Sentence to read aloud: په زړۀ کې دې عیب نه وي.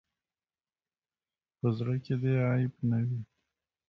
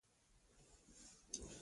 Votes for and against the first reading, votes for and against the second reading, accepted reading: 2, 0, 0, 2, first